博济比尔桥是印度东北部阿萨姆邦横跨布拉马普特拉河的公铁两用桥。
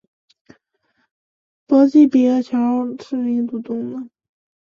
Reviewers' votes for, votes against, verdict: 0, 2, rejected